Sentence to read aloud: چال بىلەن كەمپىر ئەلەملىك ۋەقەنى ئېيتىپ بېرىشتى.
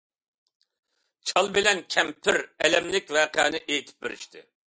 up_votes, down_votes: 2, 0